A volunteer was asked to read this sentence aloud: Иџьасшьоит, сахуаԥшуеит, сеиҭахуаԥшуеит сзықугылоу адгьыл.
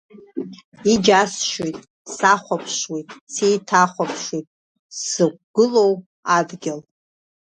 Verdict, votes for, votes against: rejected, 1, 2